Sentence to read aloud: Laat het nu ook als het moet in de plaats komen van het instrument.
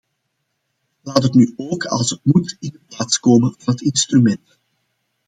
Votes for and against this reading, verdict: 2, 1, accepted